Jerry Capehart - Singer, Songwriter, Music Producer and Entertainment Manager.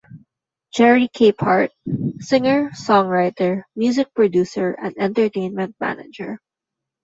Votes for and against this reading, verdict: 2, 0, accepted